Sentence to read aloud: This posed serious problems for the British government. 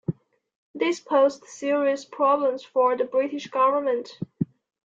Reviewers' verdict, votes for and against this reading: accepted, 2, 0